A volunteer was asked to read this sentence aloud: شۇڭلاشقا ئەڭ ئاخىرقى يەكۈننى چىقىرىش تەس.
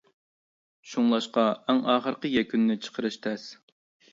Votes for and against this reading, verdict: 2, 0, accepted